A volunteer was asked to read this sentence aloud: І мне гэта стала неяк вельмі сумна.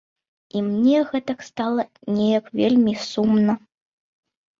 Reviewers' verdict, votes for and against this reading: accepted, 2, 0